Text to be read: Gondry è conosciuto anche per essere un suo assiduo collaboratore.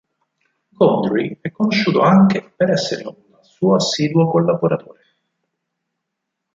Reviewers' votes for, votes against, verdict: 2, 6, rejected